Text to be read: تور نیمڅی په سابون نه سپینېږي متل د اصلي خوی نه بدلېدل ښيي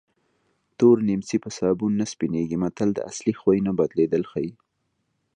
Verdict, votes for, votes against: accepted, 2, 0